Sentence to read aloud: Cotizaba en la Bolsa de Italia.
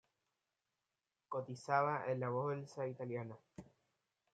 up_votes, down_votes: 1, 2